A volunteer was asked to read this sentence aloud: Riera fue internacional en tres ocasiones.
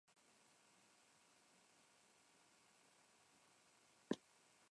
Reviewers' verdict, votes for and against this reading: rejected, 0, 2